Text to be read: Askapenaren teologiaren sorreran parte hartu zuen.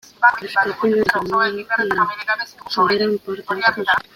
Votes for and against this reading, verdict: 1, 2, rejected